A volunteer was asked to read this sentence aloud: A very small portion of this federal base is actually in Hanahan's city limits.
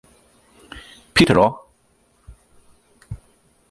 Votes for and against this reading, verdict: 0, 2, rejected